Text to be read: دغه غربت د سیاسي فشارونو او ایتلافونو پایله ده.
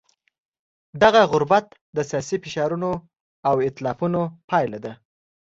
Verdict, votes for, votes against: accepted, 2, 0